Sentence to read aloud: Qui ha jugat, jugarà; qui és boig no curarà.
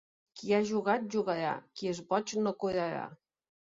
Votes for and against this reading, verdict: 3, 1, accepted